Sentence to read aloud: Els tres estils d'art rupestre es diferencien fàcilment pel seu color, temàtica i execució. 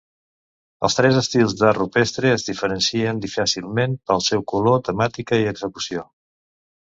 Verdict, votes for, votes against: rejected, 0, 2